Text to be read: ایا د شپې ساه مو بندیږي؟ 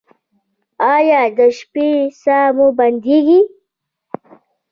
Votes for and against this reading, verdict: 2, 1, accepted